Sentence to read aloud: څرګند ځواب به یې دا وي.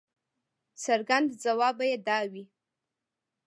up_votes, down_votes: 2, 0